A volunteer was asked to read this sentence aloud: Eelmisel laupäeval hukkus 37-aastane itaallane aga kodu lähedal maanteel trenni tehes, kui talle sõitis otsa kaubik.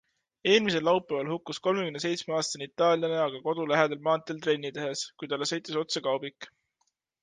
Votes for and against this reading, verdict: 0, 2, rejected